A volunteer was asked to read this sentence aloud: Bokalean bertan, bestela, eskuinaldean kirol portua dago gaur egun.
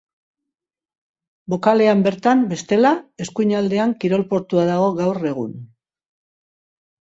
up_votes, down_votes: 2, 0